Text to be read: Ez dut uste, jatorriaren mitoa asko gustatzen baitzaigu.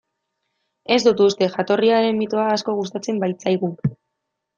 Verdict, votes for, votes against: accepted, 2, 0